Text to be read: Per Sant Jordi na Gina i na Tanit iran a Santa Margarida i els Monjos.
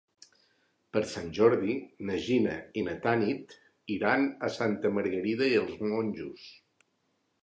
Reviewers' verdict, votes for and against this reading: accepted, 4, 0